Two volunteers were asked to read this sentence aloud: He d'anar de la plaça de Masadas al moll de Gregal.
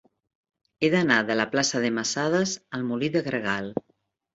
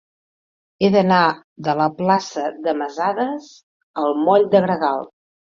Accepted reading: second